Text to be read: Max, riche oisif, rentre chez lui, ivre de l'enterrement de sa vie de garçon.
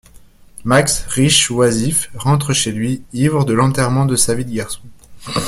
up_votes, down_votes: 0, 2